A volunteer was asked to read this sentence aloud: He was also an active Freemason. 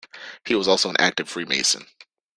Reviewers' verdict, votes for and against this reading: accepted, 2, 0